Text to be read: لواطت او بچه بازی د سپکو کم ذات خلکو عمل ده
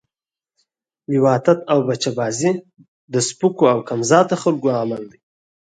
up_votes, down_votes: 4, 0